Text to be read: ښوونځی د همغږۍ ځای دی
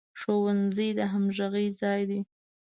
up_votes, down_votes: 2, 0